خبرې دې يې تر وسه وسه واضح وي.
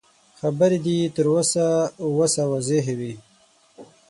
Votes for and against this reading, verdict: 3, 6, rejected